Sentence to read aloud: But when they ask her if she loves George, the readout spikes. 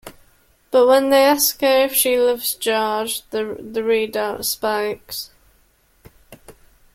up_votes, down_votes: 2, 1